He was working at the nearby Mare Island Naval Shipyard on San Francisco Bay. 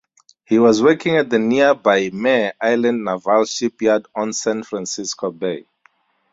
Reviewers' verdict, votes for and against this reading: accepted, 2, 0